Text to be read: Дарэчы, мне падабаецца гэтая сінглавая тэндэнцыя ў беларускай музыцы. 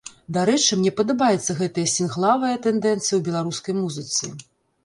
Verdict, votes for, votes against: rejected, 0, 2